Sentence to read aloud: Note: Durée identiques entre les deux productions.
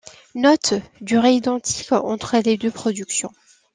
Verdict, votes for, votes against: accepted, 2, 0